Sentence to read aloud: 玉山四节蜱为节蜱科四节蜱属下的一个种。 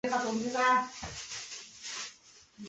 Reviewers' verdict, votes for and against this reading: rejected, 1, 2